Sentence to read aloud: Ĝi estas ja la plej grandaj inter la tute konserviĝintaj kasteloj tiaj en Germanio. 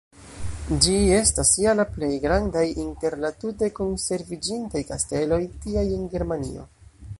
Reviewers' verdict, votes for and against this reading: accepted, 2, 0